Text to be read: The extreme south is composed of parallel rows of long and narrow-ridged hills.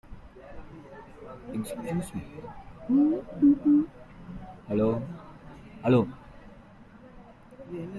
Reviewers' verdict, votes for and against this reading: rejected, 0, 2